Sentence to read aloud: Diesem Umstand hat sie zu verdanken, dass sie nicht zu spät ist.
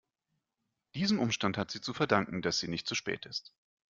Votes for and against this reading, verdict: 2, 0, accepted